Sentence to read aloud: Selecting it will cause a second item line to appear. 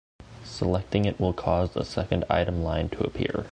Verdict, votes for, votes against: accepted, 2, 0